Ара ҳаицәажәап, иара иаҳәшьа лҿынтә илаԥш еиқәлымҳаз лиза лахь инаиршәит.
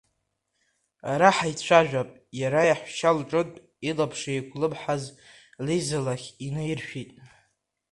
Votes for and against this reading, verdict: 2, 1, accepted